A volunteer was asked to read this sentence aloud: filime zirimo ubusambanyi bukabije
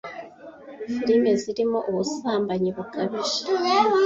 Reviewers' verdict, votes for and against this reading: accepted, 2, 0